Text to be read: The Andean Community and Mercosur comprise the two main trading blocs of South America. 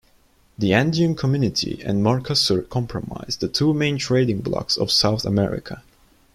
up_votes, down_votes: 1, 2